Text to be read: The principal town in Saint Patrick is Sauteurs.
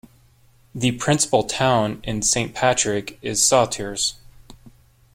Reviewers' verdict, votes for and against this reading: accepted, 2, 0